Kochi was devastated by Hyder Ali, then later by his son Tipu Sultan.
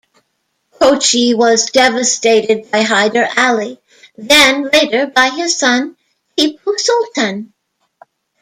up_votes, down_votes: 0, 2